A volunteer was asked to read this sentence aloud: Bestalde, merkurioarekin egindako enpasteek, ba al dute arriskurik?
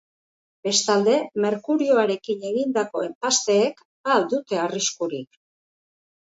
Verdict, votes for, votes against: accepted, 3, 0